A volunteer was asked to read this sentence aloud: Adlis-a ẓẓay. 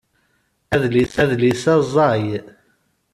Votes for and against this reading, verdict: 0, 2, rejected